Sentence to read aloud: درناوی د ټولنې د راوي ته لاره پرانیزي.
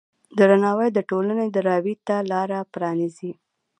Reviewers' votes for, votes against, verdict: 1, 2, rejected